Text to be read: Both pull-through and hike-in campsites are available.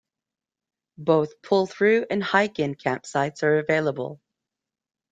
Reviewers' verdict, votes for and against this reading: accepted, 2, 0